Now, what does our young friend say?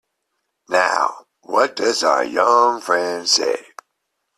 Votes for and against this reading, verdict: 2, 0, accepted